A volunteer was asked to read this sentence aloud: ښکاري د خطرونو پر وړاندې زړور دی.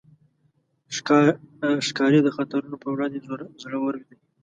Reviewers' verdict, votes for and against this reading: rejected, 1, 2